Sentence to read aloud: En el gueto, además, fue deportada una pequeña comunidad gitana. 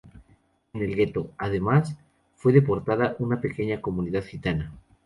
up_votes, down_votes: 2, 0